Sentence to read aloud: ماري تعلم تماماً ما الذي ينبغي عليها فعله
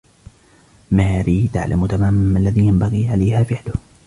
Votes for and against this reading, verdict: 2, 1, accepted